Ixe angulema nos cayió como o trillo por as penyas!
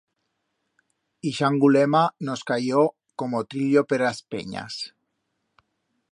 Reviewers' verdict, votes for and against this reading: rejected, 1, 2